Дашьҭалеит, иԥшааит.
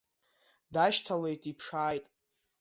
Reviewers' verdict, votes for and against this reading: accepted, 2, 0